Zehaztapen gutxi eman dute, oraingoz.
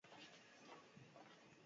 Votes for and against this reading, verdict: 0, 4, rejected